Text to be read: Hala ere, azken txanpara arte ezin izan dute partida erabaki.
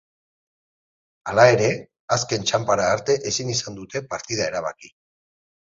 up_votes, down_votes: 2, 4